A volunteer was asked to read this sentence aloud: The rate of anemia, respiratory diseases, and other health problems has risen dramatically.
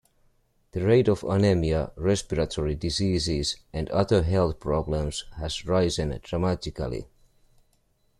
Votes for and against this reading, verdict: 1, 2, rejected